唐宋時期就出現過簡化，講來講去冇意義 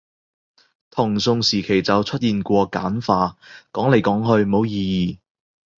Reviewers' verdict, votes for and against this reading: accepted, 2, 0